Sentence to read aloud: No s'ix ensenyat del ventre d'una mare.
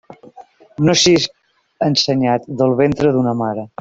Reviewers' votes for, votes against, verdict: 2, 0, accepted